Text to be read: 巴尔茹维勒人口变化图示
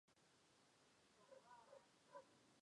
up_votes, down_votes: 0, 2